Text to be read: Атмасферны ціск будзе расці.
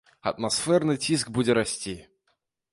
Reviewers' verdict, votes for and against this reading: rejected, 1, 2